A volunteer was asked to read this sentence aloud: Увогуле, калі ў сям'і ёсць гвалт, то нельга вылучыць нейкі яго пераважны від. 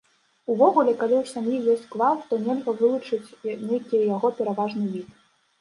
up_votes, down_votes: 1, 2